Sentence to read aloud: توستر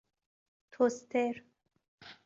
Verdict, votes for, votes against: accepted, 2, 0